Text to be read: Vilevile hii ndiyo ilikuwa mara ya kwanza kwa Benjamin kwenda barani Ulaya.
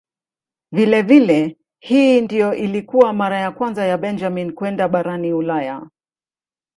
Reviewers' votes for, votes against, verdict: 2, 0, accepted